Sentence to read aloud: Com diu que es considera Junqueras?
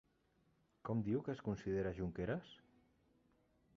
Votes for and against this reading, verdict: 3, 1, accepted